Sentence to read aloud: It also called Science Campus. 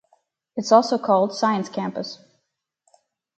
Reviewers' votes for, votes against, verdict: 2, 2, rejected